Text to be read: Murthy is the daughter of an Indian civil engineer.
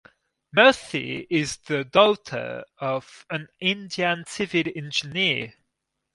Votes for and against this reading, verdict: 2, 2, rejected